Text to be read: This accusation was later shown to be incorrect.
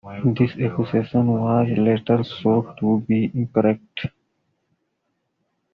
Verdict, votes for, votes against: rejected, 0, 2